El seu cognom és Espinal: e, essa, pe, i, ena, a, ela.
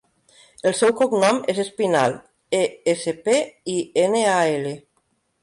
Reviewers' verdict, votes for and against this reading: rejected, 0, 3